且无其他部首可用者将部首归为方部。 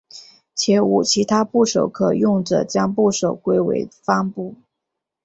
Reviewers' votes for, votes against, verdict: 4, 1, accepted